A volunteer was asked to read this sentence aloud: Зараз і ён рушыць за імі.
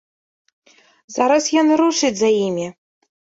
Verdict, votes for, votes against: rejected, 0, 2